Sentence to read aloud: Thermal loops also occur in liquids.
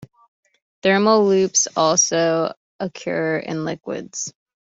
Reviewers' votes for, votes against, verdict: 2, 0, accepted